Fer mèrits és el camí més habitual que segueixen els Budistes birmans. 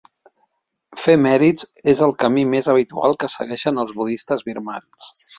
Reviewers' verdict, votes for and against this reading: accepted, 2, 0